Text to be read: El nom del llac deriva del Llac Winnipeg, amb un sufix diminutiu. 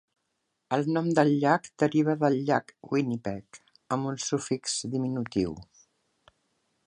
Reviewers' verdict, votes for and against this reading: accepted, 2, 0